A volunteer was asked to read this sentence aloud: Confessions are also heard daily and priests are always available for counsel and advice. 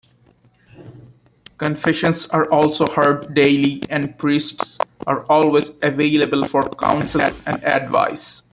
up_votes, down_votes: 0, 2